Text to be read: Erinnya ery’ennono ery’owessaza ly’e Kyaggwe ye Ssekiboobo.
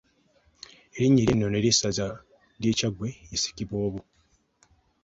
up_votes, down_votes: 0, 2